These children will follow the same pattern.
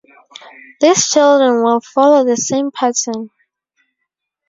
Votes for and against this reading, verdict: 2, 2, rejected